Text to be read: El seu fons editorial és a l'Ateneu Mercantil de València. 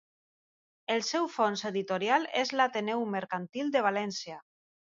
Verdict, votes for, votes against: accepted, 2, 0